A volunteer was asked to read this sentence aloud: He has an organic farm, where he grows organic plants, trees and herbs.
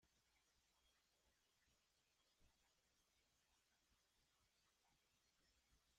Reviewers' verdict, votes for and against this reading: rejected, 0, 2